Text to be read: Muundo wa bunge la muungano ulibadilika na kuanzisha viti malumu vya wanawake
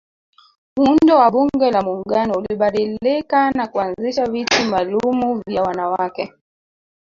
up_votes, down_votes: 0, 2